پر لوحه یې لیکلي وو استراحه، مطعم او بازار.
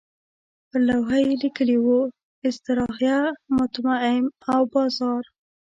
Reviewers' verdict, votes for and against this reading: rejected, 1, 2